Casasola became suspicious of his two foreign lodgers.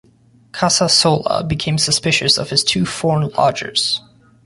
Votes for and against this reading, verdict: 2, 1, accepted